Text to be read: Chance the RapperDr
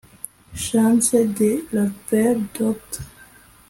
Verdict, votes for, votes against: rejected, 0, 2